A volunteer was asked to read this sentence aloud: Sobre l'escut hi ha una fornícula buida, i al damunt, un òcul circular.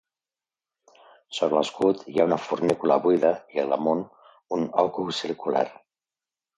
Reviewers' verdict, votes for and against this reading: accepted, 2, 0